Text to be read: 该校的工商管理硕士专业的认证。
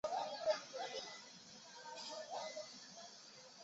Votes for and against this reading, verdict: 0, 2, rejected